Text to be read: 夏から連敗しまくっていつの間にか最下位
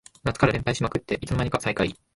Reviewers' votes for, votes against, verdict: 2, 3, rejected